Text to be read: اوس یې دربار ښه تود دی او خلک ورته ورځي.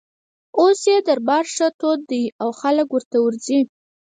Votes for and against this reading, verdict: 4, 0, accepted